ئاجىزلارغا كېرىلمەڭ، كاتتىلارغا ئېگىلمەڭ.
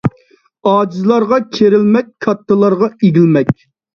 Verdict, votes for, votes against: rejected, 0, 2